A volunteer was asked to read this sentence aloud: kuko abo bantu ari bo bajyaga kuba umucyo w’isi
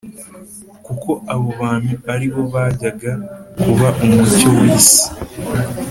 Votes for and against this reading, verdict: 2, 0, accepted